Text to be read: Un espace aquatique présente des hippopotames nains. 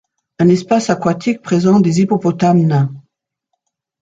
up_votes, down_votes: 2, 0